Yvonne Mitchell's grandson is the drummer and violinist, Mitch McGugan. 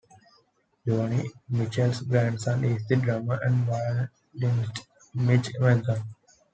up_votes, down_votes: 0, 2